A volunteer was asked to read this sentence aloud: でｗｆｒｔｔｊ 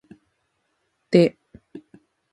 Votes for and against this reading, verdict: 0, 2, rejected